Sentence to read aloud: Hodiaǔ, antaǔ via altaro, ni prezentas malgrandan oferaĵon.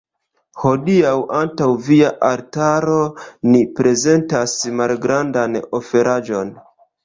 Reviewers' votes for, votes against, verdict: 1, 2, rejected